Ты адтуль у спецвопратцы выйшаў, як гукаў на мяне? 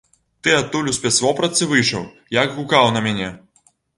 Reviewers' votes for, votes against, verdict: 2, 0, accepted